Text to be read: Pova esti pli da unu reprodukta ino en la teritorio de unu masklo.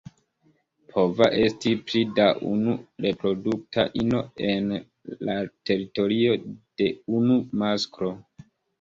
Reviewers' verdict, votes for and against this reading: rejected, 2, 3